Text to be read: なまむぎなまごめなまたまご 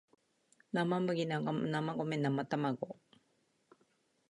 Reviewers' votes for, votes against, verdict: 1, 2, rejected